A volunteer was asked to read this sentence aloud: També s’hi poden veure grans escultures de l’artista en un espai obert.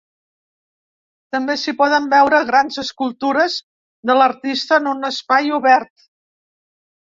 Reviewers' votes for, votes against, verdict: 4, 0, accepted